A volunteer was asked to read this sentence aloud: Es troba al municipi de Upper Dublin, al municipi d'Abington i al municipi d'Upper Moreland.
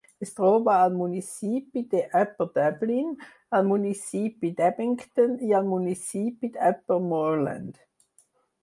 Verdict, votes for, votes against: rejected, 0, 4